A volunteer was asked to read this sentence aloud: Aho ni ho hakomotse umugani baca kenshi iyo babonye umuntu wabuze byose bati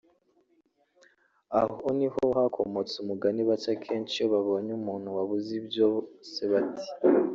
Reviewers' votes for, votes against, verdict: 0, 3, rejected